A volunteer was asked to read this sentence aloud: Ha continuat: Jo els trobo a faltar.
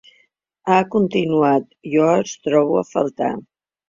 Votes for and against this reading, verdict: 2, 0, accepted